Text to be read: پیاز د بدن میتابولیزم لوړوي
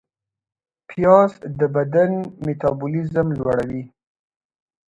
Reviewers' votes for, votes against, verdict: 2, 0, accepted